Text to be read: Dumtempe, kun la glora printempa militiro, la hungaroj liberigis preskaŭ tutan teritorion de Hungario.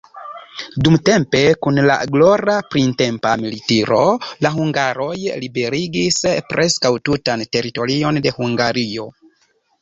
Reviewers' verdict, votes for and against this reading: accepted, 2, 1